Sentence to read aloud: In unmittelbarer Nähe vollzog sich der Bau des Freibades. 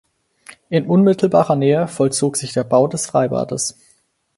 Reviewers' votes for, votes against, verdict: 4, 0, accepted